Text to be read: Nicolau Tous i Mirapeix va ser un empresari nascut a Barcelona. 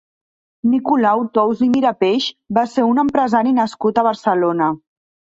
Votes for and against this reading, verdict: 2, 0, accepted